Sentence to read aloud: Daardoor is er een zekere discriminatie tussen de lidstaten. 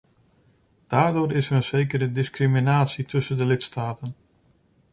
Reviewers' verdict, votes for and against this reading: accepted, 2, 0